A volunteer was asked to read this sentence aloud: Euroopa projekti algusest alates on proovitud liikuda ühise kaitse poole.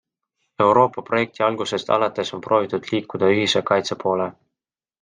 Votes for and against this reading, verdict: 2, 0, accepted